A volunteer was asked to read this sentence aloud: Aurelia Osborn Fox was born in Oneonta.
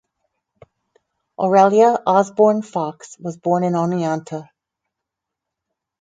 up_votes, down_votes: 4, 0